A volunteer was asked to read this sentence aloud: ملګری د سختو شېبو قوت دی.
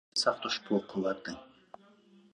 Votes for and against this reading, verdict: 1, 2, rejected